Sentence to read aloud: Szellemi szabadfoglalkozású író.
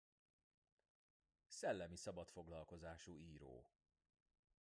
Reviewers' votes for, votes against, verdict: 1, 2, rejected